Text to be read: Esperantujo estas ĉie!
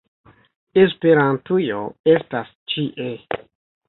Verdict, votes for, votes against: rejected, 1, 2